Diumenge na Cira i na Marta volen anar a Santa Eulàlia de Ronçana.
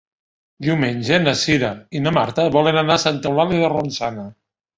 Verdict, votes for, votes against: accepted, 2, 0